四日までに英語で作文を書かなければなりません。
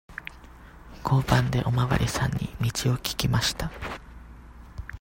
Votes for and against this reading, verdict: 0, 2, rejected